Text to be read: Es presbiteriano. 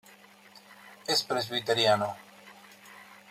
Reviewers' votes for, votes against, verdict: 2, 0, accepted